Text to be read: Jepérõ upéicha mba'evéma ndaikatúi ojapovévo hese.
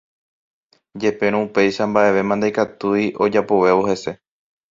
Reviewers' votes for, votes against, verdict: 2, 0, accepted